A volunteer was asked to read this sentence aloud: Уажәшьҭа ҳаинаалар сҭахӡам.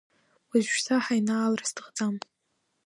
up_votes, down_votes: 0, 2